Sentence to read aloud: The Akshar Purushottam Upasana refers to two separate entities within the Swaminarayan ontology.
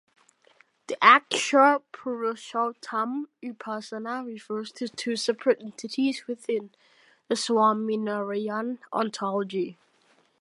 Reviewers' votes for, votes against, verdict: 2, 1, accepted